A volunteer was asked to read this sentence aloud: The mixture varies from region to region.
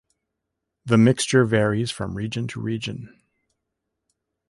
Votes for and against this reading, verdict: 2, 0, accepted